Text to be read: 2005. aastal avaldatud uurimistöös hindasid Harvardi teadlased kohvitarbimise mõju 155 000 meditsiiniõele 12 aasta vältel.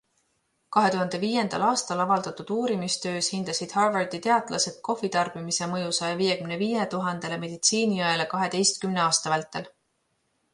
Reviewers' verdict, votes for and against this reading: rejected, 0, 2